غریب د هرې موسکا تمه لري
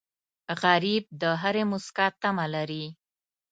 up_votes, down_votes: 2, 0